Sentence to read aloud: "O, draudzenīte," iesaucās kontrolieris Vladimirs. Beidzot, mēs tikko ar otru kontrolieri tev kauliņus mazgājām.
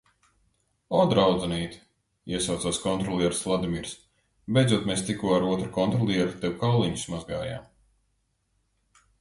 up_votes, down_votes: 2, 1